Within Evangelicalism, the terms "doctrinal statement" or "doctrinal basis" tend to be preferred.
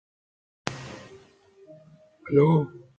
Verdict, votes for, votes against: rejected, 0, 2